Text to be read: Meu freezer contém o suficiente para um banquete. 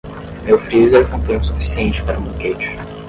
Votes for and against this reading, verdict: 10, 10, rejected